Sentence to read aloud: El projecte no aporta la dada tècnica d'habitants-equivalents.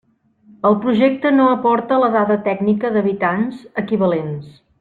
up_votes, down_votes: 2, 0